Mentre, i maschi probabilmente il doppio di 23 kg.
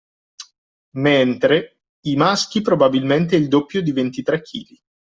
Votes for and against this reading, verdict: 0, 2, rejected